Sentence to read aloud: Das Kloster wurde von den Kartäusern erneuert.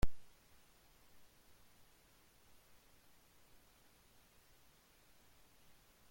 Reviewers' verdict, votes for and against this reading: rejected, 0, 2